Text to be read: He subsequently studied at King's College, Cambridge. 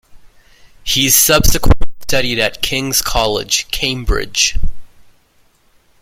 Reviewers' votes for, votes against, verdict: 0, 2, rejected